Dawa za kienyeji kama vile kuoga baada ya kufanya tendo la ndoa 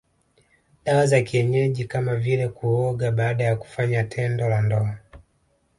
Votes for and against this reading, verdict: 2, 0, accepted